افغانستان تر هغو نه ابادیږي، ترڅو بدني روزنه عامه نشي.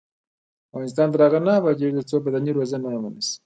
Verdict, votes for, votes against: rejected, 1, 2